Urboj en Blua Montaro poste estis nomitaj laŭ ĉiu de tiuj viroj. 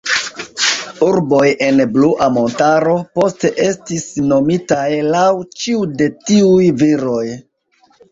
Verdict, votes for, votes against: accepted, 2, 1